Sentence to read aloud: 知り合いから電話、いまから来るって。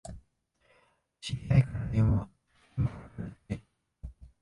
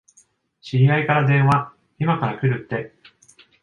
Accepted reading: second